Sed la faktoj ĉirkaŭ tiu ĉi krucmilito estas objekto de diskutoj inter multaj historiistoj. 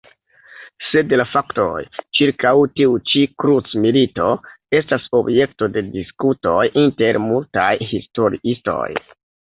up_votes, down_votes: 0, 2